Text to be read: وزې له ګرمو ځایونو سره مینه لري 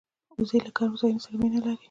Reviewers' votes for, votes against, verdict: 0, 2, rejected